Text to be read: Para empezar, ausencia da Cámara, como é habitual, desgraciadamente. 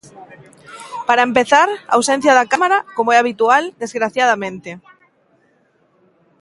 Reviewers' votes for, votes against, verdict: 2, 0, accepted